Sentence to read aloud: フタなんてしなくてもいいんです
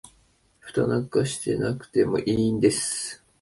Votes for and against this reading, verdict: 2, 1, accepted